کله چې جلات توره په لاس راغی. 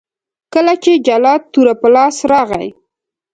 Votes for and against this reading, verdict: 2, 0, accepted